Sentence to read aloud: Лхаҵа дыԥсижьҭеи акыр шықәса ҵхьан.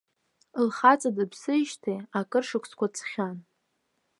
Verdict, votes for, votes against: rejected, 1, 2